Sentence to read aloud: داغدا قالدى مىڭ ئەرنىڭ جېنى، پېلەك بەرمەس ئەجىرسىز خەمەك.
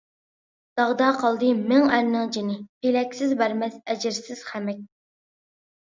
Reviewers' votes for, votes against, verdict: 0, 2, rejected